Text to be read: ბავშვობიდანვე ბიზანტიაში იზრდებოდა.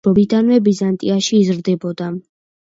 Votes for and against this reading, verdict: 0, 2, rejected